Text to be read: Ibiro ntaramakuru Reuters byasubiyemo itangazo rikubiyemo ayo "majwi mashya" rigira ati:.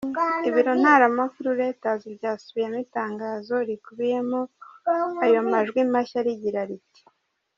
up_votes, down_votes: 1, 2